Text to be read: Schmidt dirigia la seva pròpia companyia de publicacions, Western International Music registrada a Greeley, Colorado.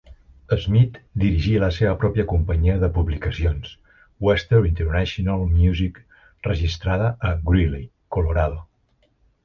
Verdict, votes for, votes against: rejected, 1, 2